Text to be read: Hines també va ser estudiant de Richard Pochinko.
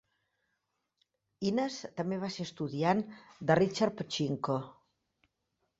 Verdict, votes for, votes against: accepted, 4, 1